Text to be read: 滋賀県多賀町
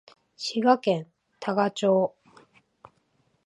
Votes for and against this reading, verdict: 3, 0, accepted